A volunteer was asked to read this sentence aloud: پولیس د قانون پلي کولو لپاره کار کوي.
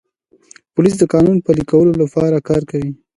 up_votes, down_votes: 2, 0